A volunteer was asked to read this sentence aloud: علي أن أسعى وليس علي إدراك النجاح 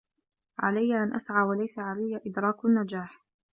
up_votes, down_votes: 2, 0